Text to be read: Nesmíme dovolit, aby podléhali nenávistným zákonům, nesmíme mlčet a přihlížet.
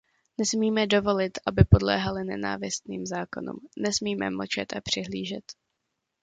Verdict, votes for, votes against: accepted, 2, 0